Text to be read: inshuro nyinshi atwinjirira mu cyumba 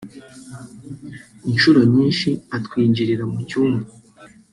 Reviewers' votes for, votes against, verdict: 0, 2, rejected